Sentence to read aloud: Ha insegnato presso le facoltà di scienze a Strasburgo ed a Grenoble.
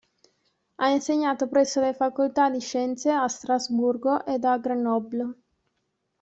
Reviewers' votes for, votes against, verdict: 2, 0, accepted